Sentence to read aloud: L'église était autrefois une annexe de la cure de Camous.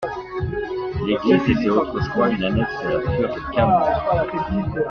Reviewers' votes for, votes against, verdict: 0, 2, rejected